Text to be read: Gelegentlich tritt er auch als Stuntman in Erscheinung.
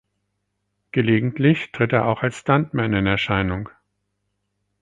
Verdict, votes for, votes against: accepted, 4, 0